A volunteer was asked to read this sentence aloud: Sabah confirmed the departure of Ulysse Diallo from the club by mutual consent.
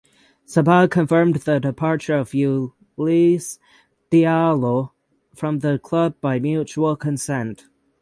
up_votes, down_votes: 0, 6